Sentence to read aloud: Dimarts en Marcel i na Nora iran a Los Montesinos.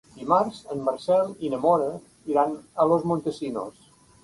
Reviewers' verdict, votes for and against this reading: rejected, 1, 2